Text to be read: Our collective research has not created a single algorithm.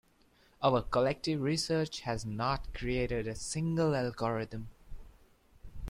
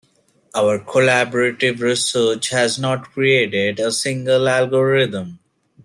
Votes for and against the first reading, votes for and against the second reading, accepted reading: 4, 0, 0, 2, first